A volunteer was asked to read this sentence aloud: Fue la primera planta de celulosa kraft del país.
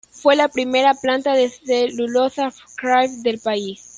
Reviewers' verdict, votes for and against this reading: accepted, 2, 0